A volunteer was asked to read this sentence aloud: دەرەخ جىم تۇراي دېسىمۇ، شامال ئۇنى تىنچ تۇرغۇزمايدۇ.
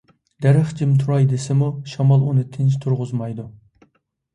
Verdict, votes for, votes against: accepted, 2, 0